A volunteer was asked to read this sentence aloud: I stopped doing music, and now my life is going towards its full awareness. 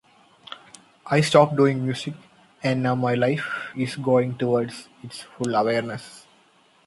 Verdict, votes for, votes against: accepted, 2, 0